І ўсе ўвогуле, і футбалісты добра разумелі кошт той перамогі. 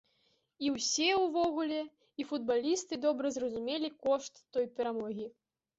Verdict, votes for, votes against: rejected, 1, 2